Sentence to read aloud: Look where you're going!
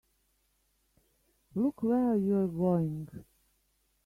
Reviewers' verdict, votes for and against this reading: rejected, 1, 2